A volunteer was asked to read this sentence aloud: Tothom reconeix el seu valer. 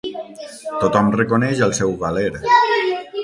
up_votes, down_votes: 6, 12